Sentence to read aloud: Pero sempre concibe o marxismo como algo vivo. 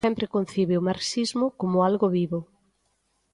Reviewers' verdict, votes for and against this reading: rejected, 0, 2